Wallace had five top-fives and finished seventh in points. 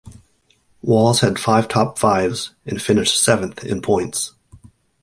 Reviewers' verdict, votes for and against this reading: accepted, 2, 0